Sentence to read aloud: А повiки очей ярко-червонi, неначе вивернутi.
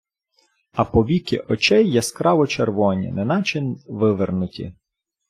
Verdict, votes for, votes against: rejected, 1, 2